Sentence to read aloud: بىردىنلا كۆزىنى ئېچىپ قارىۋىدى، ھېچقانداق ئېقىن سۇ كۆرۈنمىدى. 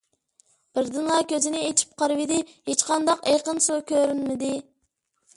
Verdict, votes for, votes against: accepted, 2, 0